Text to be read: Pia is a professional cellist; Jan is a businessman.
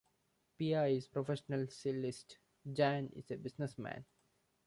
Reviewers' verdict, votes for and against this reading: rejected, 0, 2